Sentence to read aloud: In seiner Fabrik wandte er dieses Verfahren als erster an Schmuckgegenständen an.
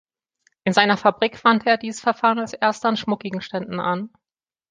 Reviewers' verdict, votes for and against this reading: rejected, 1, 2